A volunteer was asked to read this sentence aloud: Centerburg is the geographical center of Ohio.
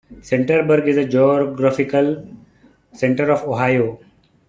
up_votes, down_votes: 0, 2